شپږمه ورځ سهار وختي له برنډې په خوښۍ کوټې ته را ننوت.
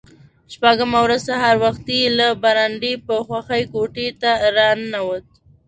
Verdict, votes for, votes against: accepted, 2, 0